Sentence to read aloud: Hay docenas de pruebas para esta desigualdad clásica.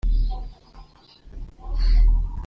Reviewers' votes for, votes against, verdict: 0, 2, rejected